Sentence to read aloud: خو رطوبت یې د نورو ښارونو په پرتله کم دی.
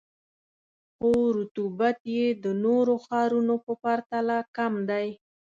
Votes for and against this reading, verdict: 2, 0, accepted